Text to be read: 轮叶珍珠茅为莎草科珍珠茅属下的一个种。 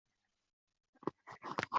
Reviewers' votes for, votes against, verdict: 0, 2, rejected